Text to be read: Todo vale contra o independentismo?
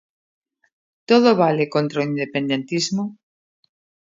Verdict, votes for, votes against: accepted, 2, 0